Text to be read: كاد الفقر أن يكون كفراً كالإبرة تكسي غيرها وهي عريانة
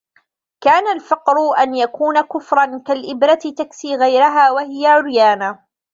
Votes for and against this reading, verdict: 1, 2, rejected